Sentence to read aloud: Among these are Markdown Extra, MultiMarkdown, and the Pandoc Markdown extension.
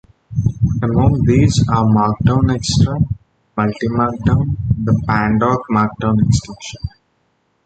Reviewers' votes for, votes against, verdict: 0, 2, rejected